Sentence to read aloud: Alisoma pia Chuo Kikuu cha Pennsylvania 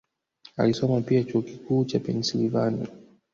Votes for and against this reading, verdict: 3, 0, accepted